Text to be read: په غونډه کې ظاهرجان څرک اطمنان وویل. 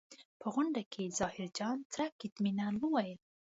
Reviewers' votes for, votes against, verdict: 2, 0, accepted